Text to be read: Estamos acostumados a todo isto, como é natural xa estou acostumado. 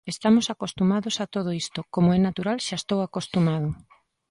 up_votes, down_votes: 2, 0